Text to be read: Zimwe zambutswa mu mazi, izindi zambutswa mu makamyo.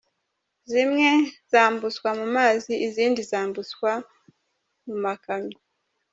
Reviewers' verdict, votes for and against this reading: accepted, 2, 0